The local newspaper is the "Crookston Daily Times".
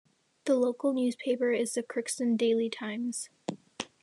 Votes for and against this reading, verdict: 2, 0, accepted